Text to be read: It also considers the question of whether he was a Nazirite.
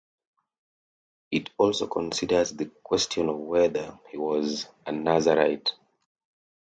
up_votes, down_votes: 2, 0